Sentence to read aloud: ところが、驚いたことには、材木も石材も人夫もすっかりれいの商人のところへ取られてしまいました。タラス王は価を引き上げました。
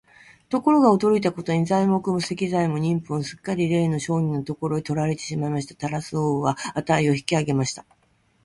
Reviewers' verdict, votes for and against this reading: rejected, 9, 9